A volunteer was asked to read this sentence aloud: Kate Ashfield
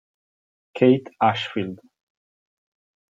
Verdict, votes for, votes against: accepted, 2, 0